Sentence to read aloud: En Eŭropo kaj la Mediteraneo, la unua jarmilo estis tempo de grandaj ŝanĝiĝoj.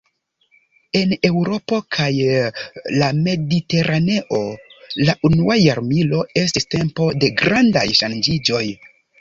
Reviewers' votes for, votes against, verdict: 2, 0, accepted